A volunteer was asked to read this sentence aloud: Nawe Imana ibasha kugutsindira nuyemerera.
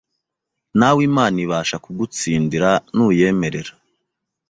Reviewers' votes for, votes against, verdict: 2, 0, accepted